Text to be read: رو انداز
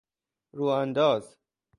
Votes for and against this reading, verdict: 2, 0, accepted